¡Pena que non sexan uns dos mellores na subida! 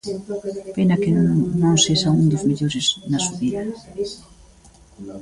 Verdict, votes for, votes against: rejected, 0, 2